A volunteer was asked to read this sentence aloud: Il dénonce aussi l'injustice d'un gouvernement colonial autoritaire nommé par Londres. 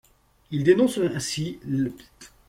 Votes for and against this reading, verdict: 1, 2, rejected